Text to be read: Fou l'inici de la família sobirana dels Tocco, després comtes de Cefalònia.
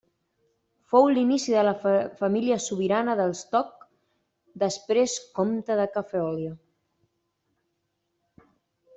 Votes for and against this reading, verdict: 0, 2, rejected